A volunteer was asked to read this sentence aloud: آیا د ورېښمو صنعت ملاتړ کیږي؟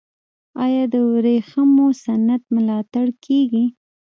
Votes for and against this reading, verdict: 2, 0, accepted